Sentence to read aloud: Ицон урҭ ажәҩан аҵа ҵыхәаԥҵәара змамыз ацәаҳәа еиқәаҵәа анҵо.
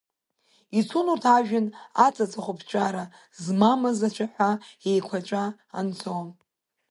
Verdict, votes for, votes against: accepted, 2, 0